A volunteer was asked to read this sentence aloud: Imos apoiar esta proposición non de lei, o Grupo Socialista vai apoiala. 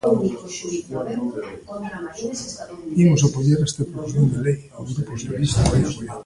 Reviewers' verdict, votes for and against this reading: rejected, 0, 2